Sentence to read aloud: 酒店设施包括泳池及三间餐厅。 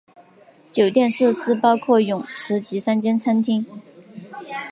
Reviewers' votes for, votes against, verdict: 4, 1, accepted